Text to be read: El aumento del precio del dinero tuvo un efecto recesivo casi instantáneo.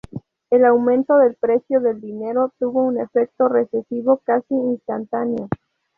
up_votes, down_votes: 2, 2